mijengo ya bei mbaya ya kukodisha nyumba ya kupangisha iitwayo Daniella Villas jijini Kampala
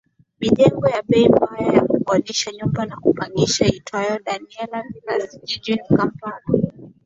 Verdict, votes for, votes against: accepted, 2, 0